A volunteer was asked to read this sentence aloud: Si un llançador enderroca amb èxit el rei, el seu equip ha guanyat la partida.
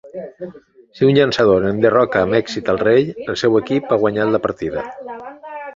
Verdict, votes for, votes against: rejected, 0, 2